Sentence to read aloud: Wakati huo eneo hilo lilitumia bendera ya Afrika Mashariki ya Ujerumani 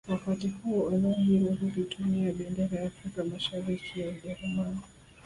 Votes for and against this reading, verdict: 0, 2, rejected